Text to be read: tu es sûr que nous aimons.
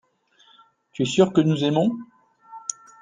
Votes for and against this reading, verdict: 2, 0, accepted